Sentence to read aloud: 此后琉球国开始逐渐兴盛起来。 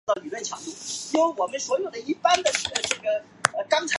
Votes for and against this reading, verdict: 2, 1, accepted